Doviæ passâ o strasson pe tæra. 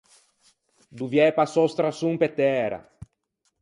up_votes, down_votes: 4, 0